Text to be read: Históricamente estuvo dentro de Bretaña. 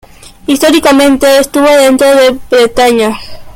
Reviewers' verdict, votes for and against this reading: accepted, 2, 1